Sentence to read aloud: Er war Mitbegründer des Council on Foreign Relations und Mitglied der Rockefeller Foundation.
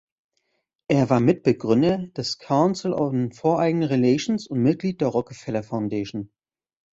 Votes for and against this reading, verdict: 1, 2, rejected